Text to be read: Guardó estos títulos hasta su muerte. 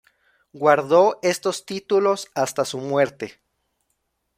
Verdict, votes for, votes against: accepted, 2, 0